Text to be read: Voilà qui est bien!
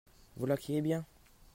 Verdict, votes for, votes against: accepted, 2, 0